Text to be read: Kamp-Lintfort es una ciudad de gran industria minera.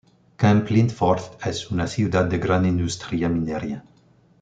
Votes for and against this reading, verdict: 1, 2, rejected